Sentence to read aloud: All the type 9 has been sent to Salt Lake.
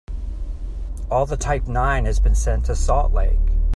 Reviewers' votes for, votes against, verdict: 0, 2, rejected